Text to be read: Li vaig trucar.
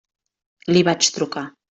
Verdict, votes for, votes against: accepted, 3, 0